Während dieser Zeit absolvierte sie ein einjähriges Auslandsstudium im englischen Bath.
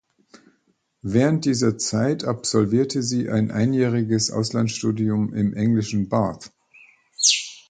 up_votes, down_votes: 2, 1